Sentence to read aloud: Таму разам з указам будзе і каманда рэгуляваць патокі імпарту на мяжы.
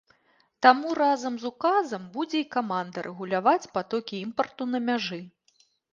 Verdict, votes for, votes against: accepted, 2, 0